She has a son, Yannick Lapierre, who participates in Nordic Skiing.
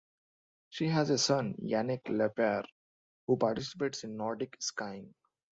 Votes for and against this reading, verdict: 0, 2, rejected